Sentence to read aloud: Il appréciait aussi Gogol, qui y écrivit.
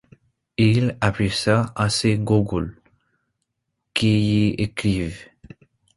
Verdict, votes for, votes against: rejected, 0, 2